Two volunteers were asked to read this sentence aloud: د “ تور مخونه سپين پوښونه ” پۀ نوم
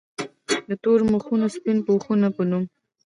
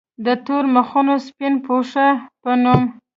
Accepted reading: second